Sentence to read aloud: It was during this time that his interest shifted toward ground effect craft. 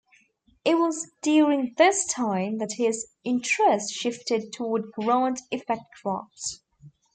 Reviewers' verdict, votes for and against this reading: rejected, 1, 2